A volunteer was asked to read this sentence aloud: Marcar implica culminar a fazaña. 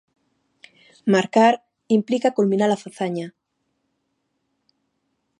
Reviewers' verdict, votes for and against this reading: accepted, 2, 0